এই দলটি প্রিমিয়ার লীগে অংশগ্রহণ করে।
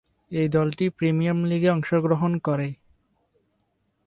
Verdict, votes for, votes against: rejected, 0, 2